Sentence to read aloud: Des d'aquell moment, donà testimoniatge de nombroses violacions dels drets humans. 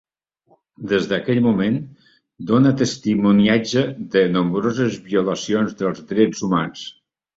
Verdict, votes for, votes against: rejected, 0, 2